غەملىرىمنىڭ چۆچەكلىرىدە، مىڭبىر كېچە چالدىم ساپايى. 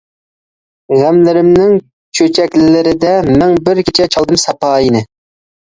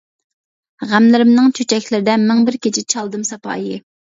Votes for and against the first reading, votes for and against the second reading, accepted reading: 0, 2, 2, 0, second